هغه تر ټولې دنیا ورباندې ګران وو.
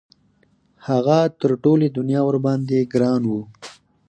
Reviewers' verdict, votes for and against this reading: rejected, 0, 4